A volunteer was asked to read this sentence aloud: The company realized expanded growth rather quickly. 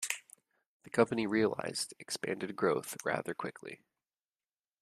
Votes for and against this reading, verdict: 2, 0, accepted